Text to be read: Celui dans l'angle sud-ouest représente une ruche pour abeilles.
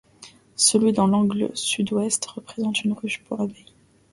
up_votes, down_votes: 2, 0